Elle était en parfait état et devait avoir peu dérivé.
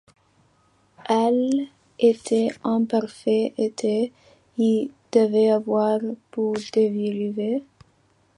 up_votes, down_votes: 1, 2